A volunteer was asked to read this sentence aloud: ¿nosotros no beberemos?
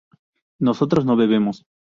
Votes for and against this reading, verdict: 0, 4, rejected